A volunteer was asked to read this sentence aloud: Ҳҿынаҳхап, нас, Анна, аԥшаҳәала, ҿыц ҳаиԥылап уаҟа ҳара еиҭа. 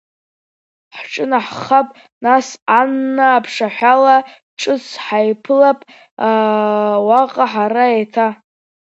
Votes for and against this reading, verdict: 2, 0, accepted